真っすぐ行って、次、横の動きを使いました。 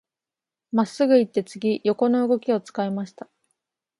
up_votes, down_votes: 5, 0